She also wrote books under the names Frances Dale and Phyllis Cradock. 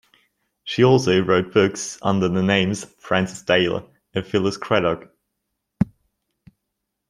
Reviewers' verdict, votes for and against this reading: rejected, 1, 2